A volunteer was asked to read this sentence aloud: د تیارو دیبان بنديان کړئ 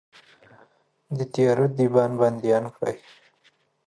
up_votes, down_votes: 2, 0